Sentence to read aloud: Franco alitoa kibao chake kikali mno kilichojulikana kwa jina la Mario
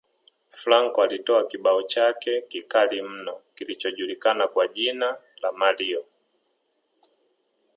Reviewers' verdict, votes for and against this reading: accepted, 3, 0